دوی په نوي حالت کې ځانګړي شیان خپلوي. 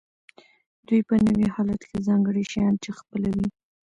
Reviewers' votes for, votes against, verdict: 2, 0, accepted